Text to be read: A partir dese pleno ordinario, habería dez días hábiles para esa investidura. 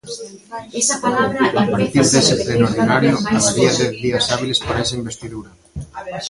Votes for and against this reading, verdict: 0, 2, rejected